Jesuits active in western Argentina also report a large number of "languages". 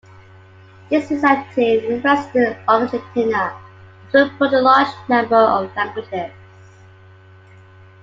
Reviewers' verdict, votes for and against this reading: rejected, 0, 2